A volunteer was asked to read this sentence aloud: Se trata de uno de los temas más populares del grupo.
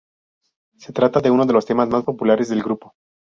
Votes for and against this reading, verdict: 2, 0, accepted